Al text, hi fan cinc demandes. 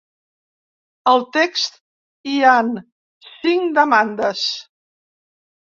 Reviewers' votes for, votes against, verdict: 1, 2, rejected